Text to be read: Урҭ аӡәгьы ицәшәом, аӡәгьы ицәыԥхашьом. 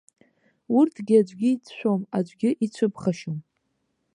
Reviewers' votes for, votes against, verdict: 2, 3, rejected